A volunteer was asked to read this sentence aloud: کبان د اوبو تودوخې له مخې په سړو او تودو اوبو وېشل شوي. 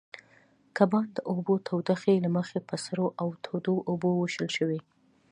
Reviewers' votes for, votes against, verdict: 2, 0, accepted